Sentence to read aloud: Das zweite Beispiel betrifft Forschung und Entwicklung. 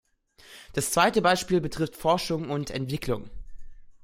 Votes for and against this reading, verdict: 2, 0, accepted